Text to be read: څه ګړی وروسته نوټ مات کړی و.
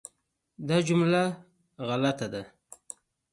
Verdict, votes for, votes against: rejected, 1, 2